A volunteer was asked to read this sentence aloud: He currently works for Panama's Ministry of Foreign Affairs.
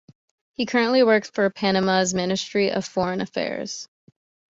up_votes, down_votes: 2, 0